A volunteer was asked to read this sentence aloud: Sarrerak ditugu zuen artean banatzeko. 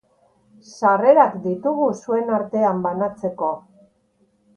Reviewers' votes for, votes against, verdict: 2, 0, accepted